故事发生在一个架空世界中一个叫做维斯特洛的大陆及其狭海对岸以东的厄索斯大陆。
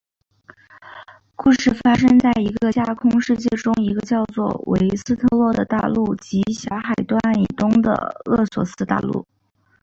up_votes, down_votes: 2, 0